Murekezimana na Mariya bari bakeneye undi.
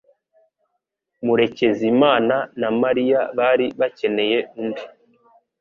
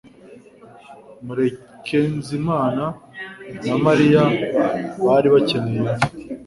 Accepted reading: first